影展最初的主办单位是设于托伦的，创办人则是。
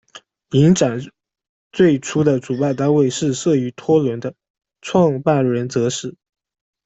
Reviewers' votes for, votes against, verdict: 1, 2, rejected